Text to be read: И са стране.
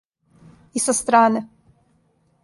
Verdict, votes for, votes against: accepted, 2, 0